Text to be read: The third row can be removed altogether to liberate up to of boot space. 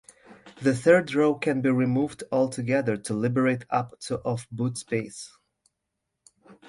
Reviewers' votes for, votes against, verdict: 2, 0, accepted